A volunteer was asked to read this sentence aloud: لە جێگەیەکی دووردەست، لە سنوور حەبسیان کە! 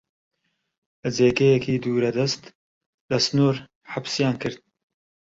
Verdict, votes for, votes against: rejected, 1, 2